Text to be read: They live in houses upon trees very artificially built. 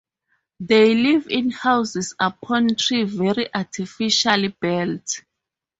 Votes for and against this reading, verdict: 2, 2, rejected